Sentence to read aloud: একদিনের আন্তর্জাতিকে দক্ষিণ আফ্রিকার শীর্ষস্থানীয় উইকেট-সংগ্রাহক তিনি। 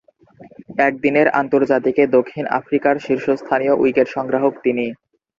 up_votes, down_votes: 2, 0